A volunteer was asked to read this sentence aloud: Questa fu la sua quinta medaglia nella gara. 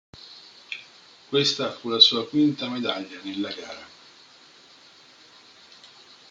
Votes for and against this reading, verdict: 1, 2, rejected